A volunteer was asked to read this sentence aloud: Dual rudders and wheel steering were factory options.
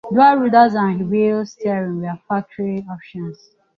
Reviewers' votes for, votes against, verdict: 2, 0, accepted